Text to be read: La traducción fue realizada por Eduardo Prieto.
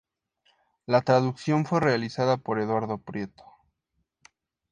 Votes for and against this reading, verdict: 2, 0, accepted